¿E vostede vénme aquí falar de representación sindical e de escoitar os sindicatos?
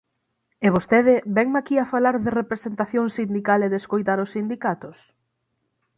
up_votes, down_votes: 3, 6